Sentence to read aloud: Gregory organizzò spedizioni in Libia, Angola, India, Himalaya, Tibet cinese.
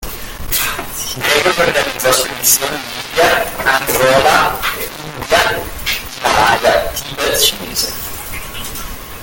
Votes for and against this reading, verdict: 0, 2, rejected